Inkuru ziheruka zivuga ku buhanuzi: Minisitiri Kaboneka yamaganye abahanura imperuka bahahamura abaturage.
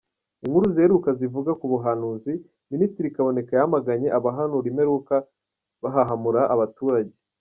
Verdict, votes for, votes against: accepted, 2, 0